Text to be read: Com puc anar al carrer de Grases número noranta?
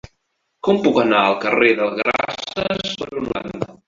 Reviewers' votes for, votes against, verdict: 0, 2, rejected